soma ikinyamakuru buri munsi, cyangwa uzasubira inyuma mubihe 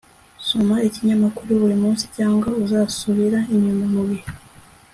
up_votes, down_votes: 2, 0